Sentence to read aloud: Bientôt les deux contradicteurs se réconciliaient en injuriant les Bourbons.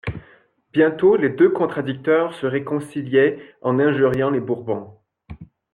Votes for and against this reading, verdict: 2, 0, accepted